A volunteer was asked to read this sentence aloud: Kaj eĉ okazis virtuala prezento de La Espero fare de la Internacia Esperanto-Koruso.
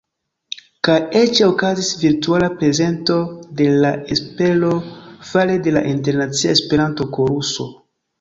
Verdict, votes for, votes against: rejected, 0, 2